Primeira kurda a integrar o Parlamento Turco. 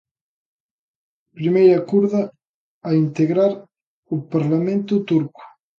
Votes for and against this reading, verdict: 2, 0, accepted